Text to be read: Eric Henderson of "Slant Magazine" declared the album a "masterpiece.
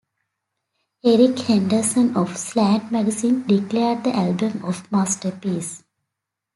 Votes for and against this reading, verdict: 0, 2, rejected